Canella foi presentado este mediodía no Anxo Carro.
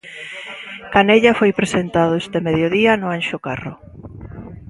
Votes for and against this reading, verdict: 0, 2, rejected